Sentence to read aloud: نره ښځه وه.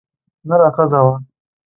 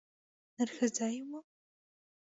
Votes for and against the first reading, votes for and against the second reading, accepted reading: 2, 0, 1, 2, first